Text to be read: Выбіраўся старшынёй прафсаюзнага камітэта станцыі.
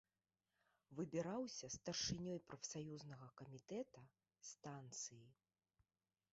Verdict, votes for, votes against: rejected, 1, 2